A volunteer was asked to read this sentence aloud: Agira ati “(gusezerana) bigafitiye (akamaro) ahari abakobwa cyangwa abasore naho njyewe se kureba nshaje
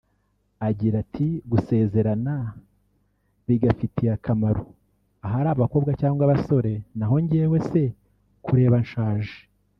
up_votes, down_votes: 2, 0